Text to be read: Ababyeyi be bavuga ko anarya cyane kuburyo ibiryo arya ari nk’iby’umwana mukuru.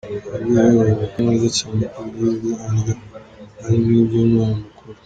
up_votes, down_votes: 0, 2